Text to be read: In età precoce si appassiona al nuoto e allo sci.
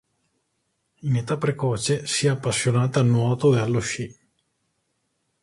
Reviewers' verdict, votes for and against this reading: rejected, 0, 2